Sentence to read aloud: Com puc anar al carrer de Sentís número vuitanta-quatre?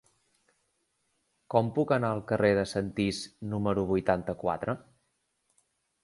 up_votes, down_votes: 2, 0